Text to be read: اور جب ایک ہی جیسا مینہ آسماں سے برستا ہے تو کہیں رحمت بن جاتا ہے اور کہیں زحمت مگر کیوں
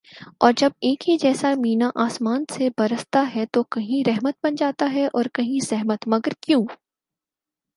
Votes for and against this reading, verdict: 6, 0, accepted